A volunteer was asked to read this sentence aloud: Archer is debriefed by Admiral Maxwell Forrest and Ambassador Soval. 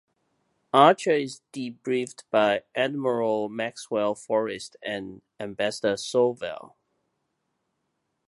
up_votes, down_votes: 2, 0